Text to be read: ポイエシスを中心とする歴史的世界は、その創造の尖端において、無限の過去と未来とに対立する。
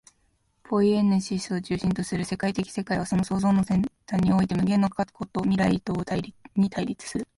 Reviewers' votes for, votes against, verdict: 0, 3, rejected